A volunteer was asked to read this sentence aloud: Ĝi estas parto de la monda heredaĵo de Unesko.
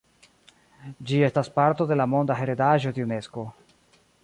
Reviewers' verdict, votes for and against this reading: rejected, 1, 2